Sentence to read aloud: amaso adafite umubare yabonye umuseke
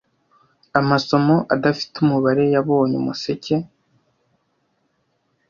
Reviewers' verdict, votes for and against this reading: rejected, 0, 2